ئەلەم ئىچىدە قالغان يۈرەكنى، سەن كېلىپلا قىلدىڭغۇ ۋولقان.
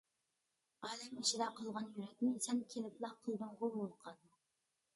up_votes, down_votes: 0, 2